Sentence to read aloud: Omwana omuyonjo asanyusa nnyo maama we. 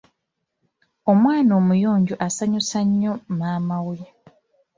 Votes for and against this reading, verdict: 1, 2, rejected